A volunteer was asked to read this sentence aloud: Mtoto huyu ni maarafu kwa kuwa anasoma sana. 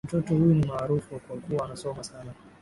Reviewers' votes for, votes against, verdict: 2, 1, accepted